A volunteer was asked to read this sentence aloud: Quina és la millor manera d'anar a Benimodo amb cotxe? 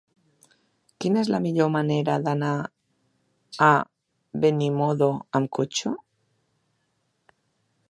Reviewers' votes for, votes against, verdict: 4, 1, accepted